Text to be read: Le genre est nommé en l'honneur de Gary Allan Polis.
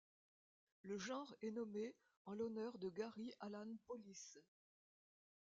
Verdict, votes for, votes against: accepted, 2, 0